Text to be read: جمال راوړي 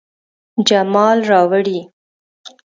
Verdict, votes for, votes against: accepted, 3, 0